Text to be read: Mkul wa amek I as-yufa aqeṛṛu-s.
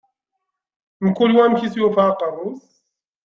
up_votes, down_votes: 1, 2